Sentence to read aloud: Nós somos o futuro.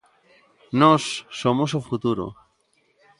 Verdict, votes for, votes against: accepted, 3, 0